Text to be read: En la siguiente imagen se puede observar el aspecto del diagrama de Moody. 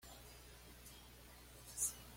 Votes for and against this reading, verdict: 1, 2, rejected